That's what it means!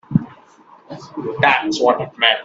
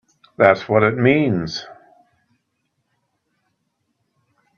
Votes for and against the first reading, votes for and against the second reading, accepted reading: 0, 2, 2, 0, second